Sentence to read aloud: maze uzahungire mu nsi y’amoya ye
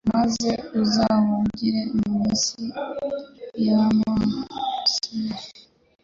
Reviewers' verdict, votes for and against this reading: rejected, 1, 2